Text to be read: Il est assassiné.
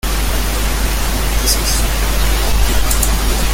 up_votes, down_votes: 0, 3